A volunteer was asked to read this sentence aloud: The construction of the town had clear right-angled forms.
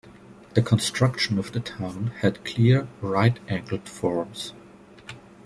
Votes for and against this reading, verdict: 2, 0, accepted